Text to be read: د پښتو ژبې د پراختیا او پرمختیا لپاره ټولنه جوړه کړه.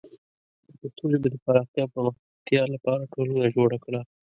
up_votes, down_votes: 0, 2